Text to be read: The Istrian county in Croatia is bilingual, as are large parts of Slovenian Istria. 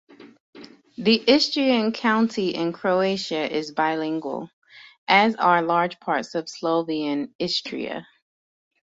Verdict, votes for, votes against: rejected, 2, 3